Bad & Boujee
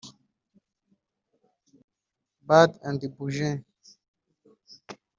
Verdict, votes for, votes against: rejected, 1, 3